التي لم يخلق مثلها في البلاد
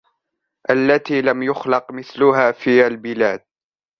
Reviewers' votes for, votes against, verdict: 1, 2, rejected